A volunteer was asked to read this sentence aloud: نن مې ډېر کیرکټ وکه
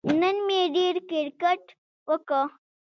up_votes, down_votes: 2, 0